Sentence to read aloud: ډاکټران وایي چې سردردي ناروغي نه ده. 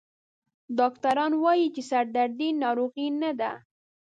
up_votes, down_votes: 1, 2